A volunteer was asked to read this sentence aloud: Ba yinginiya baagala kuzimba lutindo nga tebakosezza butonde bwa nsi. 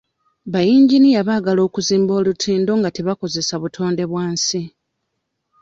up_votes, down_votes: 0, 2